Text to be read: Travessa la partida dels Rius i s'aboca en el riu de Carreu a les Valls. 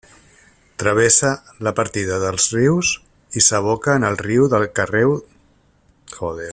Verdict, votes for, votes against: rejected, 0, 4